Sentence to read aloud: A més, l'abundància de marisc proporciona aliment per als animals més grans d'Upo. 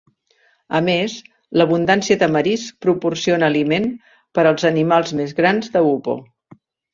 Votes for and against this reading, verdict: 0, 2, rejected